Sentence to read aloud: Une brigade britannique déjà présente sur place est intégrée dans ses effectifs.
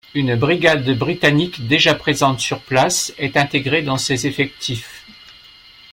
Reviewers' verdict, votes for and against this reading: rejected, 1, 2